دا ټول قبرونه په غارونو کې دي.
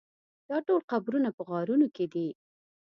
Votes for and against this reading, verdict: 2, 0, accepted